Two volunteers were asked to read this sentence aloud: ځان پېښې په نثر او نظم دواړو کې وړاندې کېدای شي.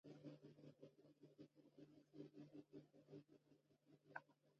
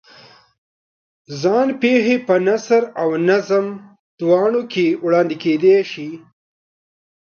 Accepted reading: second